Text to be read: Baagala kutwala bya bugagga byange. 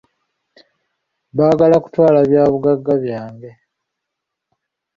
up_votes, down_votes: 2, 0